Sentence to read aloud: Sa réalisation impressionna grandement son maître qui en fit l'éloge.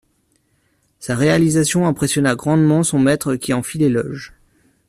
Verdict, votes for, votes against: accepted, 2, 0